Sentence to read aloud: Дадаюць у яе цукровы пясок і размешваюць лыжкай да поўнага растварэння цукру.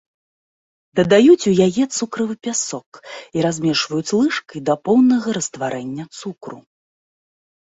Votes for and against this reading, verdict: 0, 2, rejected